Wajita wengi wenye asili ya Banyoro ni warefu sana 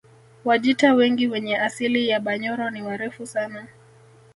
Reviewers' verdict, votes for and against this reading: accepted, 2, 0